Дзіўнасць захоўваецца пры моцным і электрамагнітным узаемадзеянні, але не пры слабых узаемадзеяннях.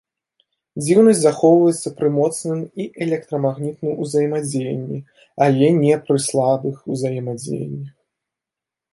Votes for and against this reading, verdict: 1, 2, rejected